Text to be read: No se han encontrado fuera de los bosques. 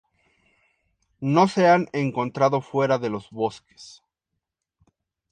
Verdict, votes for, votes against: accepted, 2, 0